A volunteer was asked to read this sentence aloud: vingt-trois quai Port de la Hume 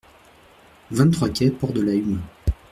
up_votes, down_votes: 2, 0